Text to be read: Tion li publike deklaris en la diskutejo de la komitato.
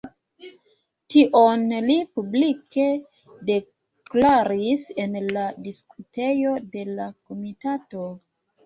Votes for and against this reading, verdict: 2, 1, accepted